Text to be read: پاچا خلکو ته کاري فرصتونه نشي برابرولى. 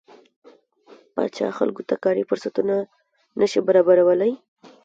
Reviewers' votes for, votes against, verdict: 1, 2, rejected